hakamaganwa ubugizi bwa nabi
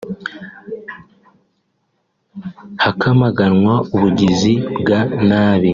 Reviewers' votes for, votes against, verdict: 0, 2, rejected